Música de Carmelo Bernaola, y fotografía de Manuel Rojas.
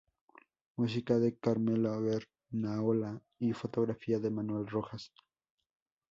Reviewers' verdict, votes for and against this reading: rejected, 0, 2